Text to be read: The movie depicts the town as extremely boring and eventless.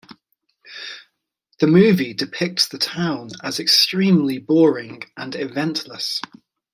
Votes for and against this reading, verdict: 2, 0, accepted